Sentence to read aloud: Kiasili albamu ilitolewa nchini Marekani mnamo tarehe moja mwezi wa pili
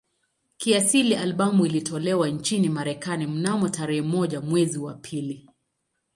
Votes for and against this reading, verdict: 2, 0, accepted